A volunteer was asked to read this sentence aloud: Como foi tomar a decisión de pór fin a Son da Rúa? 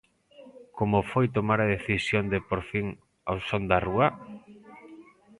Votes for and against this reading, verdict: 0, 2, rejected